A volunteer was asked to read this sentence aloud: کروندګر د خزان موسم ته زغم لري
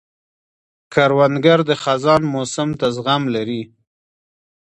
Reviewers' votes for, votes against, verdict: 2, 1, accepted